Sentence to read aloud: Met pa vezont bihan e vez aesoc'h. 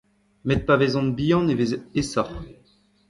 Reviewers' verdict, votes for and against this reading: rejected, 1, 2